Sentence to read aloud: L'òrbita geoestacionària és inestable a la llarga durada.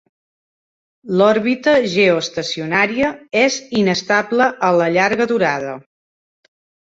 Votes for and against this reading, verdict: 2, 0, accepted